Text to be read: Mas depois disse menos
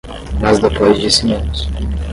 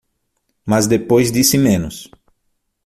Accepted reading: second